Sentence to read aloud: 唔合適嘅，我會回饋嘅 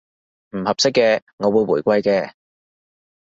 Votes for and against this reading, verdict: 2, 0, accepted